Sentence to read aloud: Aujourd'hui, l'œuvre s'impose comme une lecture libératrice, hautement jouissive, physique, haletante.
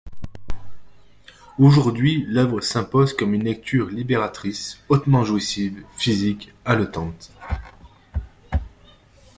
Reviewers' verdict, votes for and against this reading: accepted, 2, 0